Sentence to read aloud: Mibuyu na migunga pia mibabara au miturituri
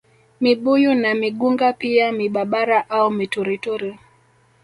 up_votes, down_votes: 2, 0